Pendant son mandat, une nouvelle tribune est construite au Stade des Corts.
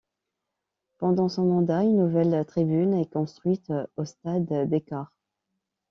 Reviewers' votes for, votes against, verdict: 2, 1, accepted